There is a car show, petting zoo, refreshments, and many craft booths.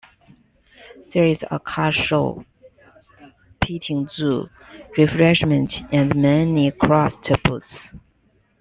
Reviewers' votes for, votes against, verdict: 2, 1, accepted